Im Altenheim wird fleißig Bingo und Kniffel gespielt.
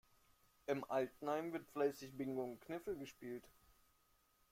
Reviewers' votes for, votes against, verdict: 0, 2, rejected